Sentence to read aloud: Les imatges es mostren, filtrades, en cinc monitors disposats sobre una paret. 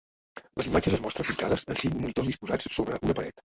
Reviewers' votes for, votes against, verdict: 1, 2, rejected